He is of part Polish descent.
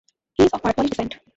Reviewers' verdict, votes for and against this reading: rejected, 0, 2